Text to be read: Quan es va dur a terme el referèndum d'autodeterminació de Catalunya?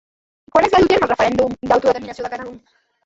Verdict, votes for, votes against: rejected, 0, 2